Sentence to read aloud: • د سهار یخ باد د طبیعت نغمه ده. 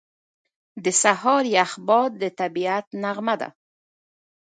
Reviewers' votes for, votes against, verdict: 2, 0, accepted